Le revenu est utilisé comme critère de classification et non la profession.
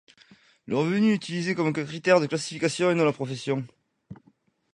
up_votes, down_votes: 1, 2